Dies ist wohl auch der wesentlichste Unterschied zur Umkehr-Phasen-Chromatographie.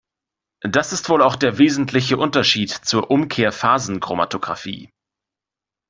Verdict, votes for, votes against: rejected, 0, 2